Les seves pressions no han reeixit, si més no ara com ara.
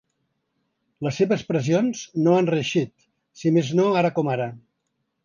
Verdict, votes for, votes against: accepted, 3, 0